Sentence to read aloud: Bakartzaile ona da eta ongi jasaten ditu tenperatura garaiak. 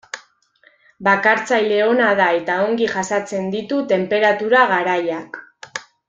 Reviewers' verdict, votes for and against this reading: rejected, 1, 2